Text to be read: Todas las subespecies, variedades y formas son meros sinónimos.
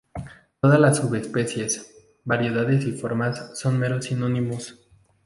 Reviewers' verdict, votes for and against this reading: accepted, 2, 0